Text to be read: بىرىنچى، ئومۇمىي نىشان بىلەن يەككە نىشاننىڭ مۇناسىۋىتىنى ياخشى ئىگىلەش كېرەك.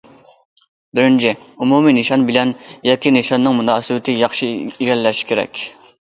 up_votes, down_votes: 0, 2